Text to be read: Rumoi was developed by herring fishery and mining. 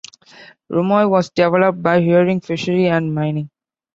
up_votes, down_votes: 0, 2